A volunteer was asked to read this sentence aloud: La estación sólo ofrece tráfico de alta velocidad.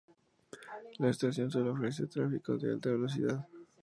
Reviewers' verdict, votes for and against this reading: rejected, 0, 2